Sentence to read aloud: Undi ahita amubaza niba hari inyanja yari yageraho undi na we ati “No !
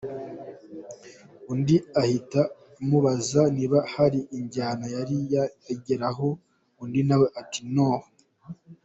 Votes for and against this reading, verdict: 1, 2, rejected